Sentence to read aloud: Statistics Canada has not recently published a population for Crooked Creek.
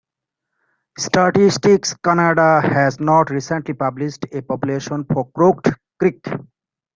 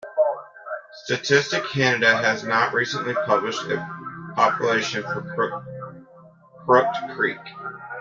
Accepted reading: first